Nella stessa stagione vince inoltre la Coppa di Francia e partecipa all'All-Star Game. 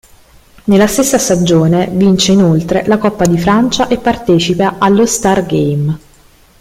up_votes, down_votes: 1, 2